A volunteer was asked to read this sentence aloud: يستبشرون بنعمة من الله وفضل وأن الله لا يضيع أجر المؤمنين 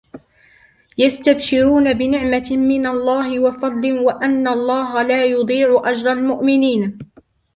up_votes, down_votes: 2, 0